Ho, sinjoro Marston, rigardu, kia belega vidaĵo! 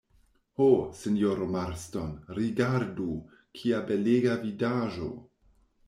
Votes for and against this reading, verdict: 2, 0, accepted